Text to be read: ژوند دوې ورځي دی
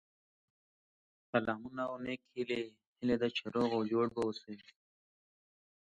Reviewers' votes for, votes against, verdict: 0, 2, rejected